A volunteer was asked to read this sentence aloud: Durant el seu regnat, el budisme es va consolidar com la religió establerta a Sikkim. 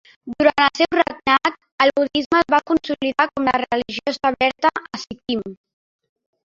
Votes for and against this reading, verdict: 1, 2, rejected